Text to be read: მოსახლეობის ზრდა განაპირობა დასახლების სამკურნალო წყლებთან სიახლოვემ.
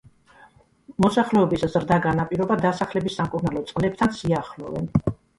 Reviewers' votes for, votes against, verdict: 2, 1, accepted